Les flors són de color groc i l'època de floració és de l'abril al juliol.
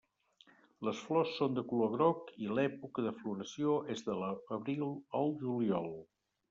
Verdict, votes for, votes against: rejected, 1, 2